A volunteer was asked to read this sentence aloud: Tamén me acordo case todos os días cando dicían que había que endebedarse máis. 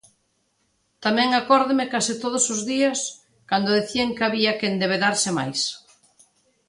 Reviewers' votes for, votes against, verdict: 0, 2, rejected